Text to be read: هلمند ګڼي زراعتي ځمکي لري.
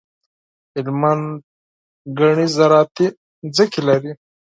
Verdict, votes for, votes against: accepted, 4, 2